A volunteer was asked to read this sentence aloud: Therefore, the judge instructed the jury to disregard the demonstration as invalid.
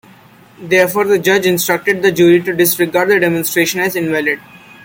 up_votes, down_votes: 2, 0